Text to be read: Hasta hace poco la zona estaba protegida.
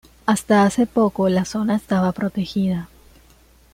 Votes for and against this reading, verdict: 2, 0, accepted